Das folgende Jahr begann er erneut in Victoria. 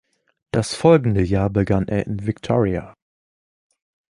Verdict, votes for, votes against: rejected, 0, 2